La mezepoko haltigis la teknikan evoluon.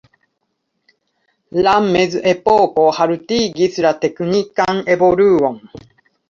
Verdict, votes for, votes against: rejected, 0, 2